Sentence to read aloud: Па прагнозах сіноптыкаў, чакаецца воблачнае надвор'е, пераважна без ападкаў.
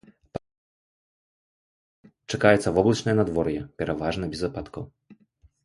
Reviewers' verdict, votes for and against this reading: rejected, 2, 3